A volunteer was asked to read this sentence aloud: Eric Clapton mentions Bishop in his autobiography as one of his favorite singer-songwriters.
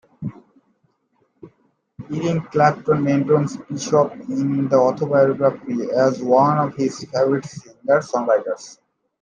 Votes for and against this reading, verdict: 0, 2, rejected